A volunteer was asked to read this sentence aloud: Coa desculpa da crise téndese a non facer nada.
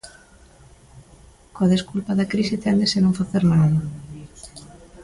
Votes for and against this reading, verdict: 2, 0, accepted